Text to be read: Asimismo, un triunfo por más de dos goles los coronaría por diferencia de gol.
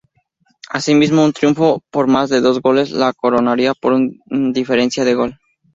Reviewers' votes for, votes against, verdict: 2, 2, rejected